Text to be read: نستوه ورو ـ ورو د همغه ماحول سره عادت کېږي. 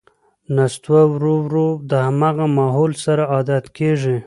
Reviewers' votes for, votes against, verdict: 2, 0, accepted